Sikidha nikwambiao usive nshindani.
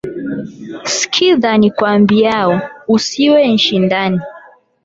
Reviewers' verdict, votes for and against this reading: accepted, 8, 4